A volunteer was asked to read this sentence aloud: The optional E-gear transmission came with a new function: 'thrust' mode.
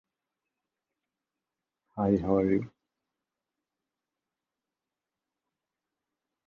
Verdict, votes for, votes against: rejected, 0, 2